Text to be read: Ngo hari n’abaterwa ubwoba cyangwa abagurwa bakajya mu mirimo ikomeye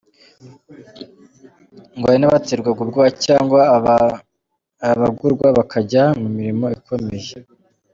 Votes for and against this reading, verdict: 2, 0, accepted